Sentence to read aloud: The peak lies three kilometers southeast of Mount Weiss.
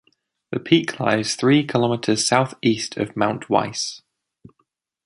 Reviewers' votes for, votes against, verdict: 2, 0, accepted